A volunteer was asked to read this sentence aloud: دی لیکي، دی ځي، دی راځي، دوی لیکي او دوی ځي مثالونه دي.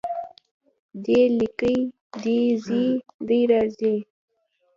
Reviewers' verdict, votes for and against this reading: rejected, 0, 2